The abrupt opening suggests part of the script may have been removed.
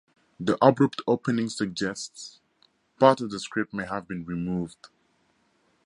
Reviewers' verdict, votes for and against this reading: accepted, 4, 0